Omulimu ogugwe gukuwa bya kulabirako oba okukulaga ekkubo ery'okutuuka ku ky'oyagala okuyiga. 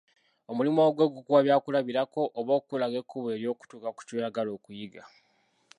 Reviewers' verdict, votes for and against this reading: rejected, 1, 2